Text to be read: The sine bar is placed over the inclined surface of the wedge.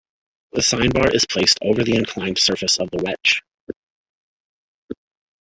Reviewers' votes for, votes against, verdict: 2, 1, accepted